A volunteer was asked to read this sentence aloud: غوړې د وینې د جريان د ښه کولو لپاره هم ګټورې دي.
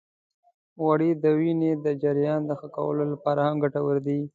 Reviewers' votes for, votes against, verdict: 2, 1, accepted